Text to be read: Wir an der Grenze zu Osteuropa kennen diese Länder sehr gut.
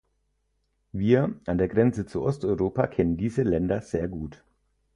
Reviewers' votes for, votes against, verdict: 4, 0, accepted